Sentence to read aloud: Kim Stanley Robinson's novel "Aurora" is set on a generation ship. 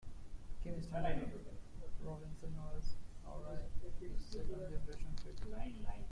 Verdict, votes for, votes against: rejected, 0, 2